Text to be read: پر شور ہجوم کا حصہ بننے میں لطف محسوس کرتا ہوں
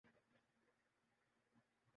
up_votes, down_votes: 0, 2